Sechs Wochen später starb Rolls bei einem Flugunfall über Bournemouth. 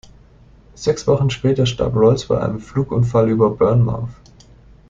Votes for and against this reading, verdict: 2, 0, accepted